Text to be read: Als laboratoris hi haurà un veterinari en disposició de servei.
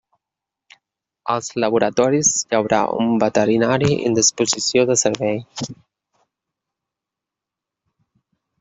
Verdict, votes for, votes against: rejected, 1, 2